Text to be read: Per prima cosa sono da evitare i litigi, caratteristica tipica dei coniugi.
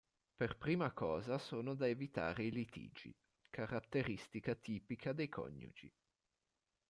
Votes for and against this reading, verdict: 2, 1, accepted